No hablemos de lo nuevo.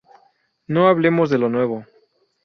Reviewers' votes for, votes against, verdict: 2, 0, accepted